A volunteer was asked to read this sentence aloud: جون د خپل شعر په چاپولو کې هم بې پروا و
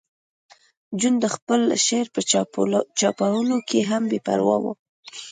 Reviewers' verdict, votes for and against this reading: accepted, 2, 0